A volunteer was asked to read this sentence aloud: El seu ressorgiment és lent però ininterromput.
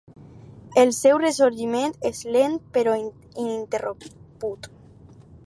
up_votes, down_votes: 2, 6